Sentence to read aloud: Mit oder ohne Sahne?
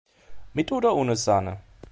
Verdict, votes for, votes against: accepted, 2, 0